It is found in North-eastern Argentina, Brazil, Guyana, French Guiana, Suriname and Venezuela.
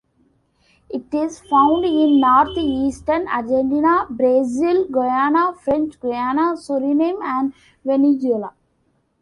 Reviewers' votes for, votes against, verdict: 2, 0, accepted